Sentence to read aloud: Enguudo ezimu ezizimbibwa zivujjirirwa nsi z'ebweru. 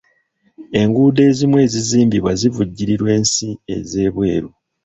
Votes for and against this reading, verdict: 1, 2, rejected